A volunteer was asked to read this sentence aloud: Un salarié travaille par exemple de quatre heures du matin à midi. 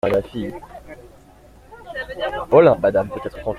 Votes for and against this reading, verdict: 0, 2, rejected